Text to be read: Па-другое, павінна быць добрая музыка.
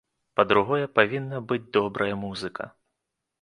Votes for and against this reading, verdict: 2, 0, accepted